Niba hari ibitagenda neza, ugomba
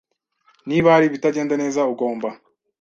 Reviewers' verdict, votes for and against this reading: accepted, 2, 0